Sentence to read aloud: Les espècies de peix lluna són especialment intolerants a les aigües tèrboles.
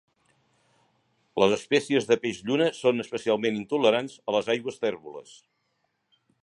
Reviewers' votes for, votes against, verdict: 3, 0, accepted